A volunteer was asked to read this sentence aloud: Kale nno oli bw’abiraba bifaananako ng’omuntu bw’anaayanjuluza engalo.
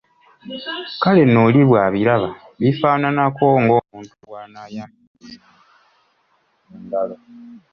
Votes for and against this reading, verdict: 1, 2, rejected